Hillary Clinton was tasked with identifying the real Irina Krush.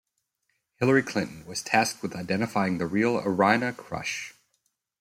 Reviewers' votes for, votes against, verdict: 2, 0, accepted